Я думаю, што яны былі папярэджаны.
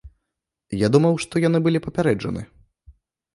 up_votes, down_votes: 0, 2